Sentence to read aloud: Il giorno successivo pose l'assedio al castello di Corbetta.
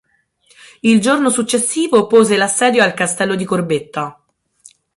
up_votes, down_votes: 6, 0